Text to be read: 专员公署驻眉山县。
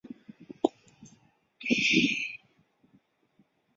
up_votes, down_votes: 1, 4